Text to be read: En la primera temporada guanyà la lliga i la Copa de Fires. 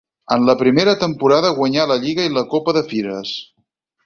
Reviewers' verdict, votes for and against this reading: accepted, 6, 0